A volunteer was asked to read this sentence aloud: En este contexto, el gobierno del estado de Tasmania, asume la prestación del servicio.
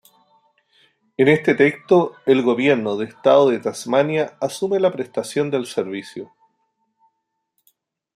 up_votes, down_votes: 2, 3